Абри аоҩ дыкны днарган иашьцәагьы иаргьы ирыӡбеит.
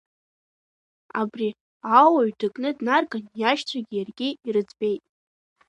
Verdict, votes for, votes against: rejected, 1, 2